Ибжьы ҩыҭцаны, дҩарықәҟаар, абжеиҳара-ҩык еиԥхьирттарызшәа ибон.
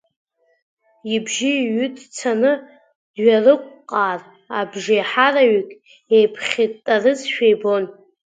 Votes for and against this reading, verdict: 2, 1, accepted